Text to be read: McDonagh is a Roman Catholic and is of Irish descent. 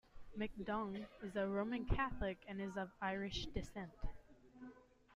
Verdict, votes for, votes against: rejected, 0, 2